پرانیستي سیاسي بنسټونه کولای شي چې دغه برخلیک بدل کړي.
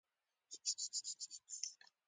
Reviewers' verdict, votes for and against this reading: rejected, 1, 2